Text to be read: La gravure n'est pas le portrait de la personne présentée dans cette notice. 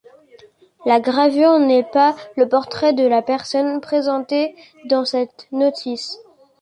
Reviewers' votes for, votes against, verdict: 2, 0, accepted